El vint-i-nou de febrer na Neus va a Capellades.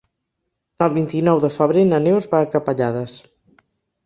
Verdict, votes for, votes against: accepted, 3, 0